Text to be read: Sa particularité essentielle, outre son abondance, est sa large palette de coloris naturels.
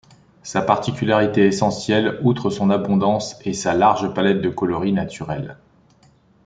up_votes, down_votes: 2, 0